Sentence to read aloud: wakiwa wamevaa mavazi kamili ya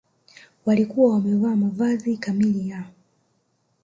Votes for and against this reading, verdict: 1, 2, rejected